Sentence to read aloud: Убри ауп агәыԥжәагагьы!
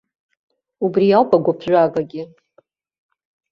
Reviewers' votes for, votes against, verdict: 2, 0, accepted